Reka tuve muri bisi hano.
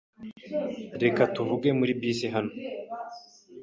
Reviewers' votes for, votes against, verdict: 0, 2, rejected